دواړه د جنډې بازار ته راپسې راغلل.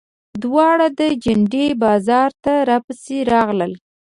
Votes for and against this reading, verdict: 2, 0, accepted